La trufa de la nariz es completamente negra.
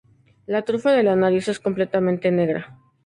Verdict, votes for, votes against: accepted, 2, 0